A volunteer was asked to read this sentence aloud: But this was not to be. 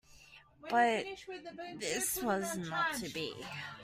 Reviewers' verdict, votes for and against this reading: rejected, 1, 2